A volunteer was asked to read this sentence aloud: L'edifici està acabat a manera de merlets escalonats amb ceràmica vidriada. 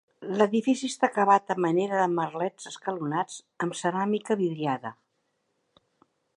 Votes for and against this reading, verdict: 2, 0, accepted